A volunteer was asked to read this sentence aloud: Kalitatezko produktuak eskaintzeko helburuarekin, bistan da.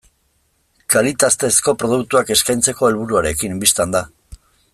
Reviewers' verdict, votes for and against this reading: rejected, 1, 2